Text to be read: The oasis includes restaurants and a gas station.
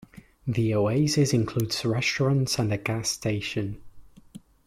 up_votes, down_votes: 2, 1